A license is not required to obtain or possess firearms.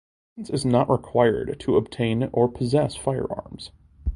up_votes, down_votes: 0, 2